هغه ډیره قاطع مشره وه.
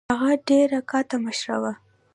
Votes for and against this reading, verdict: 2, 1, accepted